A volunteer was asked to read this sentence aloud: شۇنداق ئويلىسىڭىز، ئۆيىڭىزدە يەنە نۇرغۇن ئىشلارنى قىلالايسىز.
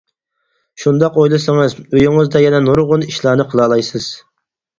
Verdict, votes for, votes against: accepted, 4, 0